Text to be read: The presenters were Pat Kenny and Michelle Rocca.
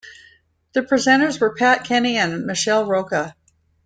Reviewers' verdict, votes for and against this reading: accepted, 2, 0